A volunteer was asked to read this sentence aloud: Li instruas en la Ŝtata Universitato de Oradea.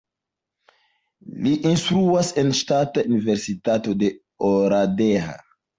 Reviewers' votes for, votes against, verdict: 1, 2, rejected